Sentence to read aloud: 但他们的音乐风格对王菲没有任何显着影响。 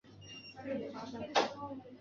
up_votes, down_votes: 4, 3